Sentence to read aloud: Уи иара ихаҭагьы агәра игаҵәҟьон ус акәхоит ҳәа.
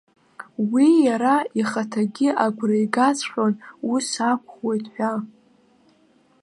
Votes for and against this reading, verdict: 2, 0, accepted